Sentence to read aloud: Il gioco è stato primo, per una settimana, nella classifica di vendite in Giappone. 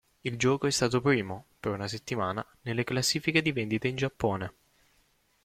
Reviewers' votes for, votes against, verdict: 0, 2, rejected